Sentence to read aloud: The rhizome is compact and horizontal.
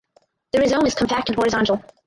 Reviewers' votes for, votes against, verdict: 0, 4, rejected